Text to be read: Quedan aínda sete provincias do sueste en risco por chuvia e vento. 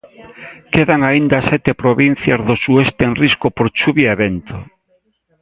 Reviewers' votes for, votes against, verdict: 2, 0, accepted